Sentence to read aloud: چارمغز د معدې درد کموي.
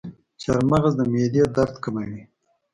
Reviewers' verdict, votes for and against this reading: accepted, 2, 0